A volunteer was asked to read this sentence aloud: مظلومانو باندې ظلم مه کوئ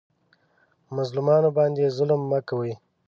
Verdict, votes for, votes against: accepted, 2, 0